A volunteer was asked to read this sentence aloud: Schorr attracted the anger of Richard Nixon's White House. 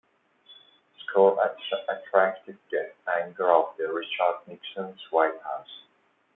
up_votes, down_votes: 1, 2